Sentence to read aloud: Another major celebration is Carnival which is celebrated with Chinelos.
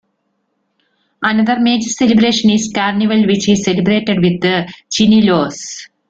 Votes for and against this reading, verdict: 0, 2, rejected